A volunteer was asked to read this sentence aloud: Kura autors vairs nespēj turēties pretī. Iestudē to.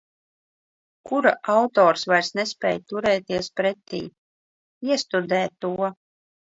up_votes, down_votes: 2, 1